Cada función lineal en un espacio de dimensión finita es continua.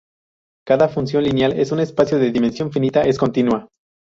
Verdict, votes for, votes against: rejected, 0, 2